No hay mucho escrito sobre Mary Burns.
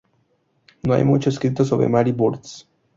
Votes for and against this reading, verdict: 4, 0, accepted